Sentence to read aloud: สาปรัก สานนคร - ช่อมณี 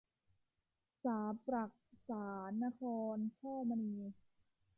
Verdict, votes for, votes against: rejected, 1, 2